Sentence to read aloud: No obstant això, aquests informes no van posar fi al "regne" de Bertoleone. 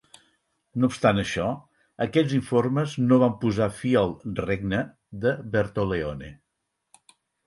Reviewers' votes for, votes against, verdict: 4, 0, accepted